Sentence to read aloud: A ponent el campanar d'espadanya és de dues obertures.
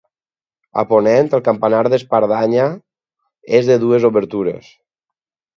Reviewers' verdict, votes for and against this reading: rejected, 0, 4